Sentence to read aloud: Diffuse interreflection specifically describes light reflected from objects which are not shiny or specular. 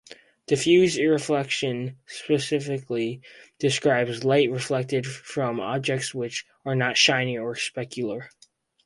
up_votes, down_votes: 2, 2